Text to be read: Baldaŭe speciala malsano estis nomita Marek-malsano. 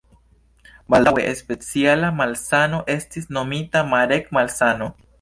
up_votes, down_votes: 2, 0